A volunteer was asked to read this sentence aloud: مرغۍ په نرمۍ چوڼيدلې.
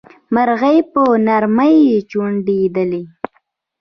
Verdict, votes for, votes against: accepted, 2, 0